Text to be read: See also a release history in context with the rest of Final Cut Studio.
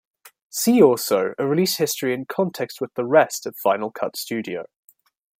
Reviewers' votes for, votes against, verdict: 2, 0, accepted